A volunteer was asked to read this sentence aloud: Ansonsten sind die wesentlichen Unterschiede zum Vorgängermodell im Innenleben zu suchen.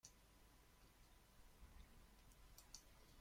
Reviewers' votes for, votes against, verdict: 0, 2, rejected